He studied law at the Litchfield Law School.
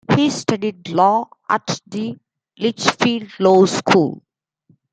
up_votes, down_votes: 2, 1